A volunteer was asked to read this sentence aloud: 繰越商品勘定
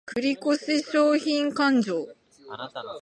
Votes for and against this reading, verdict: 2, 2, rejected